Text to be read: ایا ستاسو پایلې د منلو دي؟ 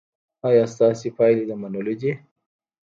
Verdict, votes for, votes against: rejected, 0, 2